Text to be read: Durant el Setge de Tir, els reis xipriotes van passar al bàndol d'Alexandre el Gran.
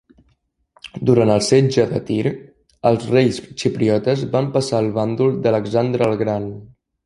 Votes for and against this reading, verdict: 2, 0, accepted